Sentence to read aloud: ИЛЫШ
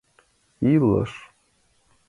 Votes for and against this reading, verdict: 2, 0, accepted